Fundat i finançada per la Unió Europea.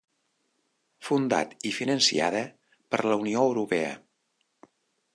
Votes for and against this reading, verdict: 0, 2, rejected